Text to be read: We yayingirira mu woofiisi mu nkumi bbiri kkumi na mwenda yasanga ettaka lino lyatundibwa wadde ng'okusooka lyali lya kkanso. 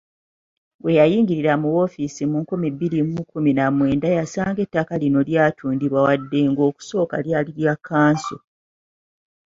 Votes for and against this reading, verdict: 1, 2, rejected